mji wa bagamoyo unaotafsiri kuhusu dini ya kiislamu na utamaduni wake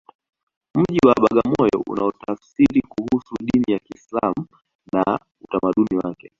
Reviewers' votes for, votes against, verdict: 2, 1, accepted